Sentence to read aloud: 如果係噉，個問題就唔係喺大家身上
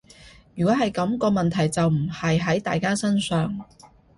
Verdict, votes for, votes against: accepted, 2, 0